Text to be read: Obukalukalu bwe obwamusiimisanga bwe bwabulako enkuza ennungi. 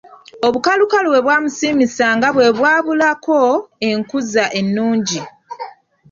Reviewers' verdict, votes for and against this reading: rejected, 0, 2